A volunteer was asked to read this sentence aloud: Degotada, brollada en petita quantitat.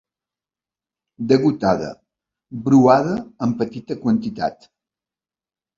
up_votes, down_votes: 0, 2